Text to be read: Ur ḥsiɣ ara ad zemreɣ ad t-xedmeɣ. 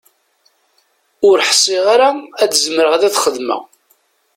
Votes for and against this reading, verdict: 2, 0, accepted